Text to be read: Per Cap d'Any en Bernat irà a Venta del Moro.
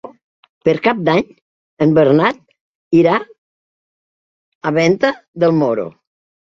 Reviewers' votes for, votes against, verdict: 3, 0, accepted